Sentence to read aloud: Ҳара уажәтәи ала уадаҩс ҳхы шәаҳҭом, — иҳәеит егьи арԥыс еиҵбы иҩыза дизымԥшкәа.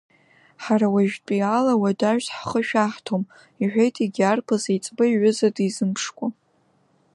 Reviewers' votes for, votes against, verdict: 2, 0, accepted